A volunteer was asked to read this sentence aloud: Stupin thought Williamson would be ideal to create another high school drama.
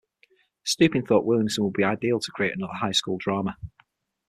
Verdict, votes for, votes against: accepted, 6, 3